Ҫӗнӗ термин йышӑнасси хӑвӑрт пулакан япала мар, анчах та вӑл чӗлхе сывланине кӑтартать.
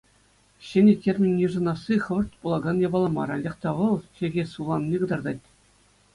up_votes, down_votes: 2, 0